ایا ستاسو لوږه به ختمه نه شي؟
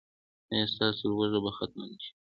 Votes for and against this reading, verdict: 2, 0, accepted